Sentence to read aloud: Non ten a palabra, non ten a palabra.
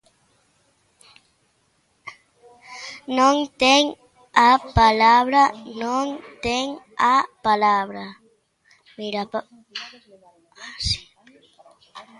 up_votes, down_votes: 1, 3